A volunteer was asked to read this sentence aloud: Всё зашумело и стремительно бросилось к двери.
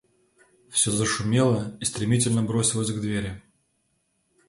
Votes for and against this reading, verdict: 2, 0, accepted